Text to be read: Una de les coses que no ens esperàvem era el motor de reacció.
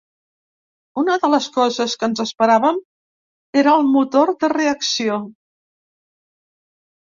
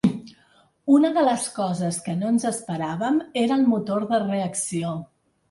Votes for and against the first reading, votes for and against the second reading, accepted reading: 0, 2, 4, 0, second